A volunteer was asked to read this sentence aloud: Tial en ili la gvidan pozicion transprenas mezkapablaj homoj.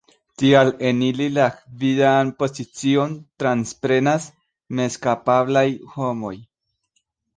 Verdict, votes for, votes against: accepted, 2, 0